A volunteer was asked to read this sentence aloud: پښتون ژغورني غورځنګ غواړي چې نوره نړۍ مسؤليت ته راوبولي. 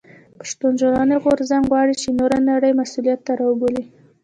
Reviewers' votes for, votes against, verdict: 0, 3, rejected